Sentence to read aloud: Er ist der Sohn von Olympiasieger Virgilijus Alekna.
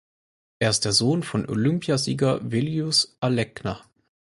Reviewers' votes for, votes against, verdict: 2, 4, rejected